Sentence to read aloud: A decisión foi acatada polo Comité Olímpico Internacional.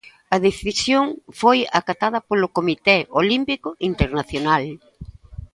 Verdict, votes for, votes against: accepted, 2, 0